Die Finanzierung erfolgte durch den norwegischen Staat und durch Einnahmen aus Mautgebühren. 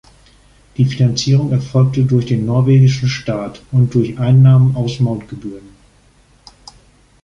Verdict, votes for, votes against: accepted, 2, 1